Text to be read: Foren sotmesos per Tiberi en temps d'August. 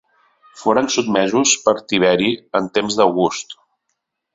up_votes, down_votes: 2, 0